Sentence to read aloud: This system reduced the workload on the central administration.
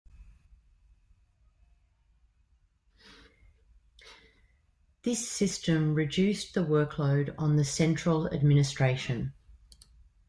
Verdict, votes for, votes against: rejected, 1, 2